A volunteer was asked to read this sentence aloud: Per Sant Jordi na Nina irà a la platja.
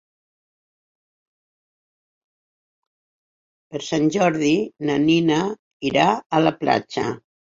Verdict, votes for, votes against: accepted, 4, 2